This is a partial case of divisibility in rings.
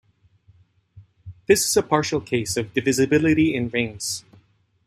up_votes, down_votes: 1, 2